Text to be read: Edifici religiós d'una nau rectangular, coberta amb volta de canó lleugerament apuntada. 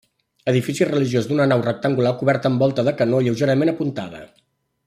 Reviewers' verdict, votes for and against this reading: accepted, 2, 0